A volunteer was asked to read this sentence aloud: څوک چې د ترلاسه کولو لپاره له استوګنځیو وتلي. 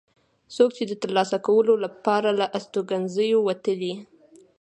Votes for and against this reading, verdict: 2, 1, accepted